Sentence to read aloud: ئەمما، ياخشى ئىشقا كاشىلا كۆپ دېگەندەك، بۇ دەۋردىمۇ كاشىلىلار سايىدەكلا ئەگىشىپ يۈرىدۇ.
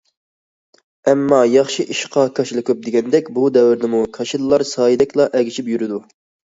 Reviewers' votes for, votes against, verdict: 2, 0, accepted